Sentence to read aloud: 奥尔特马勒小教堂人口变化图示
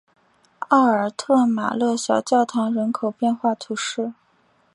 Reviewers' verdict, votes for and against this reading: accepted, 5, 0